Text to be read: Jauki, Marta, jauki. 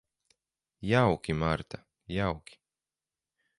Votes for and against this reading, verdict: 4, 0, accepted